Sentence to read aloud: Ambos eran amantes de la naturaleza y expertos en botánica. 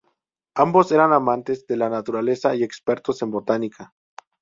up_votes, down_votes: 2, 0